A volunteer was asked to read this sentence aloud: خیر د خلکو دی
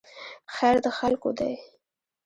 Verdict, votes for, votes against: rejected, 1, 2